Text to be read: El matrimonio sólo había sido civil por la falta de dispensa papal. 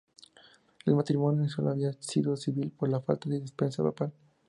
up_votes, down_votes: 2, 0